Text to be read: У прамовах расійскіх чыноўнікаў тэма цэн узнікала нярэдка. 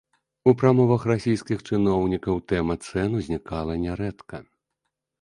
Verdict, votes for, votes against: accepted, 2, 0